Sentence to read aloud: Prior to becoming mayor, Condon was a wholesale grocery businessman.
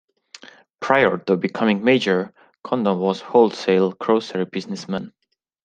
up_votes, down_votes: 0, 2